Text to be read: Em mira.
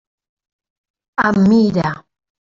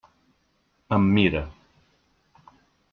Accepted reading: second